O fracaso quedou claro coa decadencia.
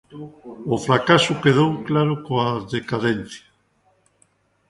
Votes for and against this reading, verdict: 0, 2, rejected